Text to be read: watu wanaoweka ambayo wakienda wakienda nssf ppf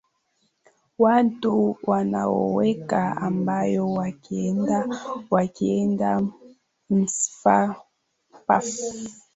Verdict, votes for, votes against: rejected, 1, 2